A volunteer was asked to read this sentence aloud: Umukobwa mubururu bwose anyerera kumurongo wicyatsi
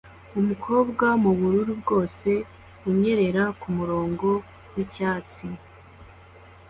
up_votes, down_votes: 2, 0